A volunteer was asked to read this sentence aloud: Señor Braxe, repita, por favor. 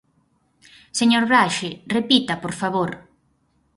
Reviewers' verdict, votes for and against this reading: accepted, 4, 0